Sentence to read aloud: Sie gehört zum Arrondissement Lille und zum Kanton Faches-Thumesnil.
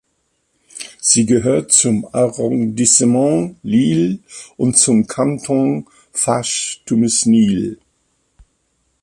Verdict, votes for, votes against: accepted, 2, 0